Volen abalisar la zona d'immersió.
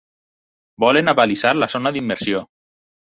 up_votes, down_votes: 4, 0